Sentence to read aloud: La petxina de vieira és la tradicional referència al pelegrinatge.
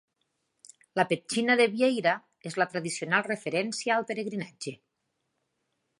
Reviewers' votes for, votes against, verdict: 2, 0, accepted